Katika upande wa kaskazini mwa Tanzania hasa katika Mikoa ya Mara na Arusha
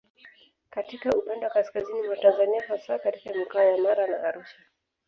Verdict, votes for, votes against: accepted, 2, 1